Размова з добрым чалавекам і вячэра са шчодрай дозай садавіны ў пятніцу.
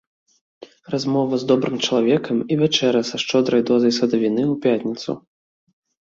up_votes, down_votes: 4, 1